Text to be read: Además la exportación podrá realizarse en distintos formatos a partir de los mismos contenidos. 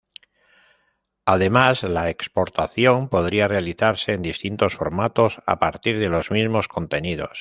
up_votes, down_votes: 1, 2